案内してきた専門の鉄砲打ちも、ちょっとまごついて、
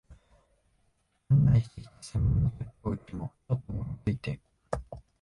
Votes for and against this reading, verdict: 0, 2, rejected